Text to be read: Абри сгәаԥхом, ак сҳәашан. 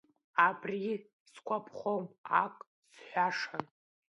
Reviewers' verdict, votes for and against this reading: accepted, 2, 1